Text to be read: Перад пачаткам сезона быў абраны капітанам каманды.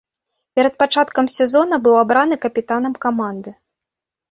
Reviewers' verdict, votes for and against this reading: accepted, 2, 0